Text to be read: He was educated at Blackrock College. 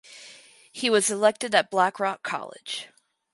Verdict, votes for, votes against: rejected, 0, 4